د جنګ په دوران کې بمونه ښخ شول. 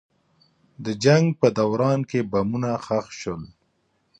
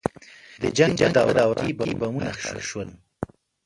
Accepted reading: first